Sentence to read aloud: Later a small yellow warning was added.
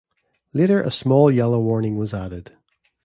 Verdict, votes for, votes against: rejected, 1, 2